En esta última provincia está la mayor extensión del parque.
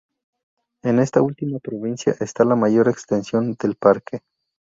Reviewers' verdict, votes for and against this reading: accepted, 4, 0